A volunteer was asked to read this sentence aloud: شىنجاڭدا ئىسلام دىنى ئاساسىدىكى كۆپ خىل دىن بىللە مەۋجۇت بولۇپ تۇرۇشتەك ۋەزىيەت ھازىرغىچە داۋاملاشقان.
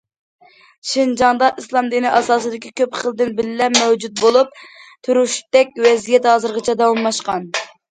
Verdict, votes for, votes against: accepted, 2, 0